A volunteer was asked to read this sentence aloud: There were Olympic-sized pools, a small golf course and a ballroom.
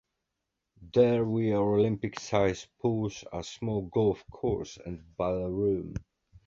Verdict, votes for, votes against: accepted, 2, 0